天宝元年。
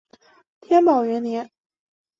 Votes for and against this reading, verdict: 2, 0, accepted